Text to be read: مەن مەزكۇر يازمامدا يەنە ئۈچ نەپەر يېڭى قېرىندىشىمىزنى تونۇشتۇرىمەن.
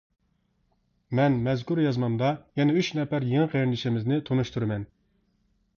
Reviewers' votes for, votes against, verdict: 2, 0, accepted